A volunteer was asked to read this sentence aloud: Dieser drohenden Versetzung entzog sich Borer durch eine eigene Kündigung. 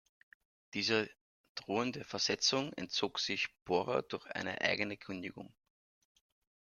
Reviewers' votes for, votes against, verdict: 1, 2, rejected